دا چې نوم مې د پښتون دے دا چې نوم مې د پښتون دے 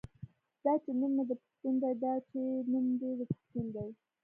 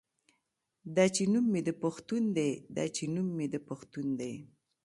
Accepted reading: second